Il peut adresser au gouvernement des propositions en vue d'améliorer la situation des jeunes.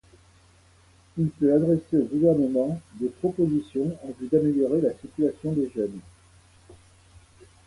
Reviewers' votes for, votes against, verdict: 2, 0, accepted